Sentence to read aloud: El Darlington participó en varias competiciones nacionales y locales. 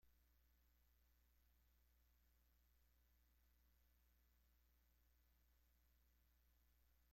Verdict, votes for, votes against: rejected, 0, 2